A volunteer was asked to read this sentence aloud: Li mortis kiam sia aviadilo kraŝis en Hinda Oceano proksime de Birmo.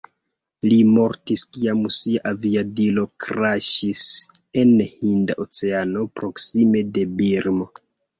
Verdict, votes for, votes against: accepted, 2, 1